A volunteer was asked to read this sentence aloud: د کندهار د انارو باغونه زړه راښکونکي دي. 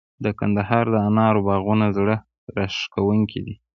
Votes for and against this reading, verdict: 1, 2, rejected